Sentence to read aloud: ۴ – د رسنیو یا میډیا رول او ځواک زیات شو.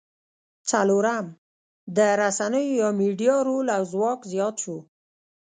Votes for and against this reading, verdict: 0, 2, rejected